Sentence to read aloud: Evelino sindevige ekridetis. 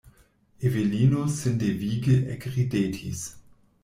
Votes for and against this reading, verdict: 2, 0, accepted